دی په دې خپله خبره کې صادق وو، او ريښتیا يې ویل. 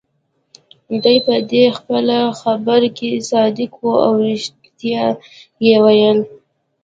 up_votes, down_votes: 2, 1